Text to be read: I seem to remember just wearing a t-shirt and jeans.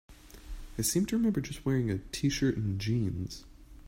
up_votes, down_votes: 2, 0